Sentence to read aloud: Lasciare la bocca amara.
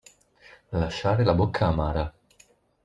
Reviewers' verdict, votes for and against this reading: accepted, 2, 0